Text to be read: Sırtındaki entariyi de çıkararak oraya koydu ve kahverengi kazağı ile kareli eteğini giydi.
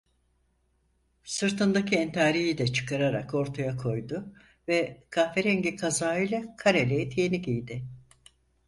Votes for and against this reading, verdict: 2, 4, rejected